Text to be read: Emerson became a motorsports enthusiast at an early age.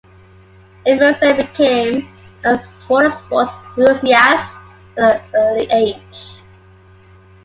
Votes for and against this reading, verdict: 2, 0, accepted